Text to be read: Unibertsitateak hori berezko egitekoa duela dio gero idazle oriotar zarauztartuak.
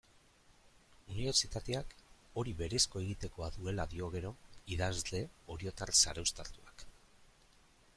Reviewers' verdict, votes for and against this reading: accepted, 2, 0